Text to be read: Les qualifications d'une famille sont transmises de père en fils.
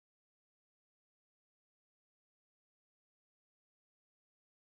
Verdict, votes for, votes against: rejected, 0, 2